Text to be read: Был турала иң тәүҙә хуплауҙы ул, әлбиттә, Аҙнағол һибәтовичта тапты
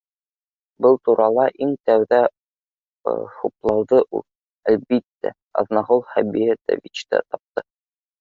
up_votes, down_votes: 1, 2